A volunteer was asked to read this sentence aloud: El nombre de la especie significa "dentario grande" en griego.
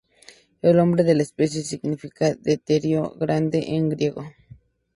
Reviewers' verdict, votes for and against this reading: rejected, 0, 2